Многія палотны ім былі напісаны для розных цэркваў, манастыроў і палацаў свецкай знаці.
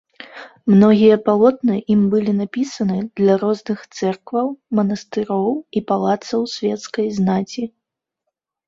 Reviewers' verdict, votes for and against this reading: accepted, 2, 0